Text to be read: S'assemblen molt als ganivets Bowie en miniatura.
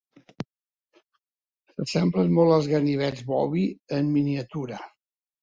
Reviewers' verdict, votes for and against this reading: accepted, 2, 0